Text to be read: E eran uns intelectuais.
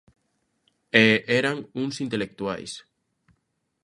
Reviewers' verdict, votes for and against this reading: accepted, 2, 0